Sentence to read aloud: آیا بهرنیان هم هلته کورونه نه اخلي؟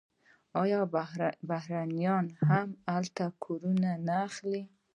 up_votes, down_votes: 1, 2